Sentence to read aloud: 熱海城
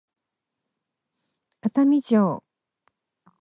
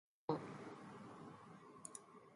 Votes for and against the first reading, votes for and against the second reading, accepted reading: 4, 0, 0, 2, first